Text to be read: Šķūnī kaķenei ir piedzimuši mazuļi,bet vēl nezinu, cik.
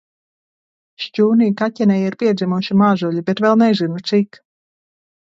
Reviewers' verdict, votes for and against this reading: accepted, 2, 1